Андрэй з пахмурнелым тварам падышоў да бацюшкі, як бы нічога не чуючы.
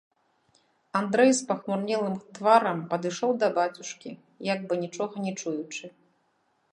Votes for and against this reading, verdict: 0, 2, rejected